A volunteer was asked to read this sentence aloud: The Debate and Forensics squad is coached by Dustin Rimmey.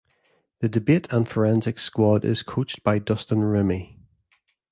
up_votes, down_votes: 2, 0